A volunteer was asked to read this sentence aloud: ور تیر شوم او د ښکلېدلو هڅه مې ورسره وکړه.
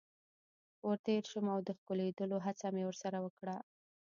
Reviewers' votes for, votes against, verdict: 0, 2, rejected